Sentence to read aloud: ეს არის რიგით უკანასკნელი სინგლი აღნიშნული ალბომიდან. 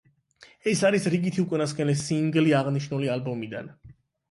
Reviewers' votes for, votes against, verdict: 4, 8, rejected